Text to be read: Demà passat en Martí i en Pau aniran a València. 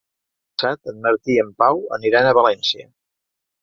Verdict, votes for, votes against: rejected, 0, 2